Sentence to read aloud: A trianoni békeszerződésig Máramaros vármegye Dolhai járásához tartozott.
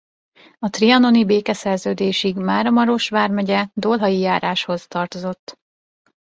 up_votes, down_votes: 0, 2